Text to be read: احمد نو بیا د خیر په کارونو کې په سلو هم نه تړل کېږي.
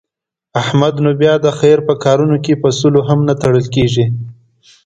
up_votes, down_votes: 2, 0